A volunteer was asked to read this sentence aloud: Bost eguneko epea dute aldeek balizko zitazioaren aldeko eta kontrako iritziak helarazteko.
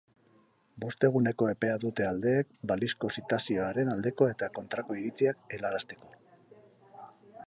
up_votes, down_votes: 0, 4